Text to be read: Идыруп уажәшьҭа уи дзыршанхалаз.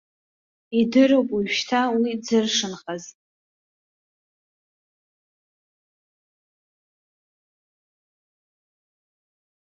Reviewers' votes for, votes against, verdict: 0, 2, rejected